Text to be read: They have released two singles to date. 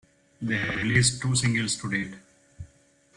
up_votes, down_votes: 1, 2